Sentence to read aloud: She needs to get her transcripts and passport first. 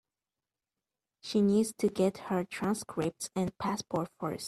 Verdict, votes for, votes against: accepted, 2, 0